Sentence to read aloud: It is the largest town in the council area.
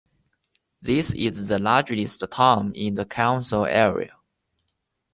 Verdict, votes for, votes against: rejected, 0, 2